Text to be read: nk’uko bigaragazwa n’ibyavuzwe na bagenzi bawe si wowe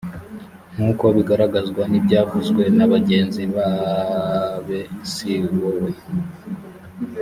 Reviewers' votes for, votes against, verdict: 2, 3, rejected